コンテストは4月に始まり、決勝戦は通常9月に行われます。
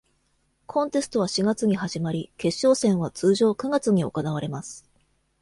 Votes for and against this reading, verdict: 0, 2, rejected